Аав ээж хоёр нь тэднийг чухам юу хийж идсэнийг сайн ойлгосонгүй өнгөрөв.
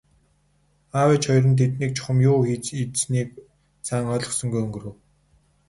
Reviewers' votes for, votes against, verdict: 2, 2, rejected